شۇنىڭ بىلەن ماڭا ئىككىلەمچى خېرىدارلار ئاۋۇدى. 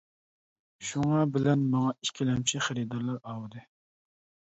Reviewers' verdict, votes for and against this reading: rejected, 0, 2